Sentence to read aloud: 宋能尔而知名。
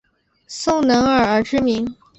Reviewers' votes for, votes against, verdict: 5, 0, accepted